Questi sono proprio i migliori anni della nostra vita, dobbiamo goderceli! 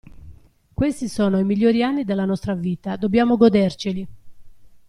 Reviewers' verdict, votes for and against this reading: rejected, 0, 2